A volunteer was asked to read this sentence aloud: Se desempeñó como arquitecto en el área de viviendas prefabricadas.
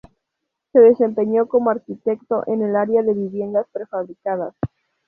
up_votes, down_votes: 2, 0